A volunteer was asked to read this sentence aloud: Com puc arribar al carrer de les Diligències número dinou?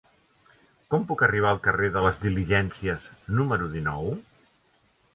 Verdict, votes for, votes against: accepted, 2, 0